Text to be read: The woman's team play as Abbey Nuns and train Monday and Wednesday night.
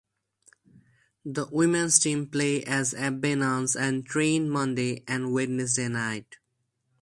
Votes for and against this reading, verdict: 0, 2, rejected